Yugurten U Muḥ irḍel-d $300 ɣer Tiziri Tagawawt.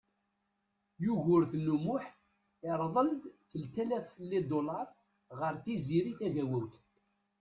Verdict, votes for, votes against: rejected, 0, 2